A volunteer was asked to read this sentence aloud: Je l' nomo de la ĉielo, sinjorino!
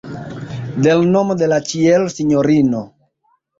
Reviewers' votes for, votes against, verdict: 1, 2, rejected